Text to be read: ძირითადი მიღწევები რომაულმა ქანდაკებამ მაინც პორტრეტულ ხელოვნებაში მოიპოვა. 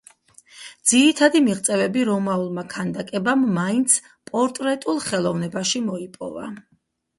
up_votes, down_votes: 4, 0